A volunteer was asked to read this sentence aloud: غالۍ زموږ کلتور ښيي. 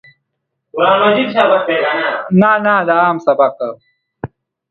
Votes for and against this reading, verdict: 0, 2, rejected